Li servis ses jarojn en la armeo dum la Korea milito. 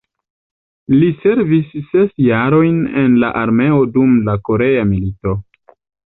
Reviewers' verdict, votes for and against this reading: accepted, 2, 0